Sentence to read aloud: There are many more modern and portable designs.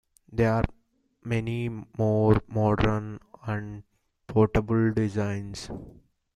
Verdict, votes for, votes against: accepted, 2, 0